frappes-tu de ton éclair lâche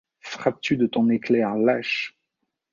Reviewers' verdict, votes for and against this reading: accepted, 2, 0